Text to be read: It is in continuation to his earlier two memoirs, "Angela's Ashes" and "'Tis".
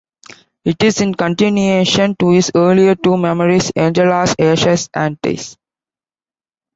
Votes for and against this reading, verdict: 2, 1, accepted